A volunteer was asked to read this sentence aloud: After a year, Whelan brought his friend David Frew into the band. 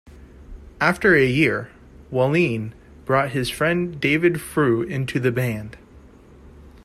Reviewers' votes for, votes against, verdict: 1, 2, rejected